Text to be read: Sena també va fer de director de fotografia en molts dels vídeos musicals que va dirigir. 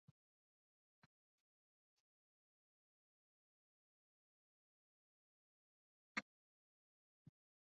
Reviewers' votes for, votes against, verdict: 0, 2, rejected